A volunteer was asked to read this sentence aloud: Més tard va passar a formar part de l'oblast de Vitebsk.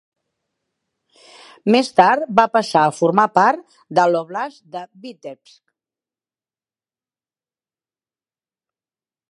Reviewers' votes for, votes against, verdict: 0, 2, rejected